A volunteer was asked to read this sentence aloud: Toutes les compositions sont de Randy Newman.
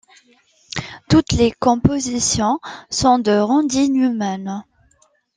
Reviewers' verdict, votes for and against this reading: accepted, 2, 0